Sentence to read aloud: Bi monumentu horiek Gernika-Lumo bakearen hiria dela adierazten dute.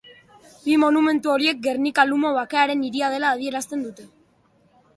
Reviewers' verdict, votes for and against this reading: accepted, 2, 0